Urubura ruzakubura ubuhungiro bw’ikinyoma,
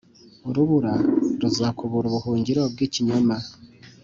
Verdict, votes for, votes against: accepted, 2, 0